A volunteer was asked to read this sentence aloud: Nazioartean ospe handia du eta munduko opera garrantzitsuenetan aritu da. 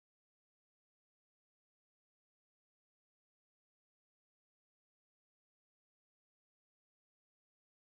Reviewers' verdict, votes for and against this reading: rejected, 0, 4